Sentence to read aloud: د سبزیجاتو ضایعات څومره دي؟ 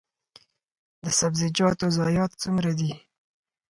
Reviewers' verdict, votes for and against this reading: accepted, 4, 0